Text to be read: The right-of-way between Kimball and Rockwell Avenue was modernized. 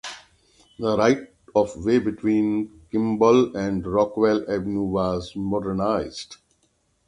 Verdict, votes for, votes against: accepted, 6, 0